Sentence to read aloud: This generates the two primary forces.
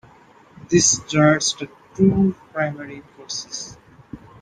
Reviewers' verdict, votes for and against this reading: rejected, 0, 2